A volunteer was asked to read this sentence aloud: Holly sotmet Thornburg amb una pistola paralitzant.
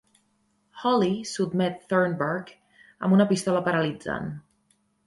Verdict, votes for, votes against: accepted, 2, 1